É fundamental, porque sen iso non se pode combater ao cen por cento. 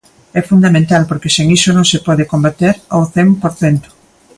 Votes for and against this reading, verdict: 2, 0, accepted